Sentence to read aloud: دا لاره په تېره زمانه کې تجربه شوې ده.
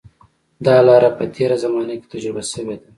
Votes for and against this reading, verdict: 2, 0, accepted